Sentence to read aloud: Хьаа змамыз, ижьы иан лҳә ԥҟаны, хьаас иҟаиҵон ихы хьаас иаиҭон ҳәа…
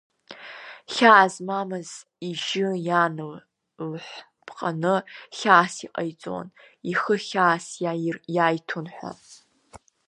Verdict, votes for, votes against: rejected, 0, 2